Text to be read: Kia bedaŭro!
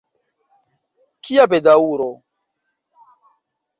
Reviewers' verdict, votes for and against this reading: rejected, 1, 2